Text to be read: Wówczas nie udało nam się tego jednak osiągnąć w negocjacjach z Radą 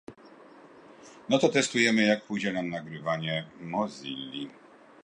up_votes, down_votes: 0, 2